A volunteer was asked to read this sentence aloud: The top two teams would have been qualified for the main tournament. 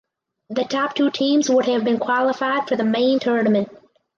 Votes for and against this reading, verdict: 2, 2, rejected